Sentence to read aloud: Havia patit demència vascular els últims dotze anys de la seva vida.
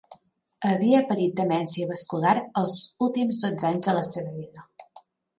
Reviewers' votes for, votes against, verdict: 0, 2, rejected